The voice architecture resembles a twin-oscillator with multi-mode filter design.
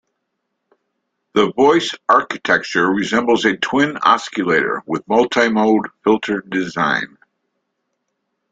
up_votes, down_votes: 1, 2